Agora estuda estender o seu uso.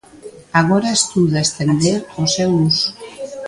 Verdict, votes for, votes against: accepted, 2, 0